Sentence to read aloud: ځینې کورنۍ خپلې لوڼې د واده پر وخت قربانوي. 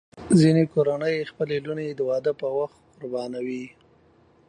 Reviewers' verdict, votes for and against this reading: accepted, 2, 0